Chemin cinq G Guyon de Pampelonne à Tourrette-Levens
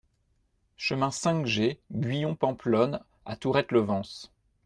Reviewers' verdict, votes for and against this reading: accepted, 2, 1